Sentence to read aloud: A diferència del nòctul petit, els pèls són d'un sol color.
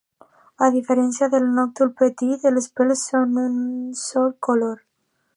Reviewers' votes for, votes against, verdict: 2, 1, accepted